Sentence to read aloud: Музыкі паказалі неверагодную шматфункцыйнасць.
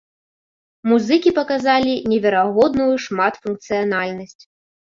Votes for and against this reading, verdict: 0, 2, rejected